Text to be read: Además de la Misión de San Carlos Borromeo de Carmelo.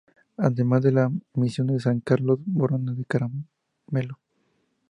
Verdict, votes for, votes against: rejected, 0, 2